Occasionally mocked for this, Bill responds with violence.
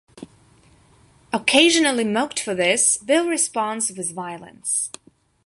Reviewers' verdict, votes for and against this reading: accepted, 2, 0